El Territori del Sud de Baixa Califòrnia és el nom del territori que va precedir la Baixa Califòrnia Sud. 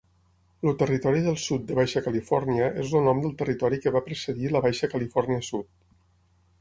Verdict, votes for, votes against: rejected, 0, 6